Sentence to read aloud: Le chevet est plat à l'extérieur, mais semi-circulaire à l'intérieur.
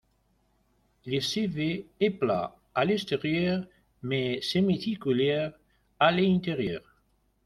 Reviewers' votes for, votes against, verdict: 1, 2, rejected